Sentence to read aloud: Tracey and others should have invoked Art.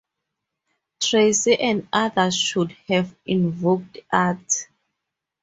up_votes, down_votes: 2, 0